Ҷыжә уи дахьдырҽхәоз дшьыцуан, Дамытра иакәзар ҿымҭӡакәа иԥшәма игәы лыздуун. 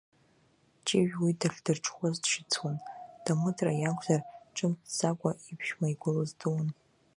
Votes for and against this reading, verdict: 1, 2, rejected